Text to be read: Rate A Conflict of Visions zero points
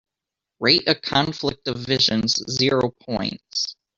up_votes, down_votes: 1, 2